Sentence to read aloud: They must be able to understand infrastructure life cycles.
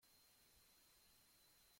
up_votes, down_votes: 0, 2